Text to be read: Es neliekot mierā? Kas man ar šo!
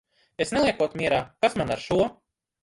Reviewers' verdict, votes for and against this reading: rejected, 1, 2